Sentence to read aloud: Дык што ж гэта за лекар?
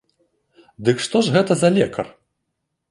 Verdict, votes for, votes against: accepted, 2, 0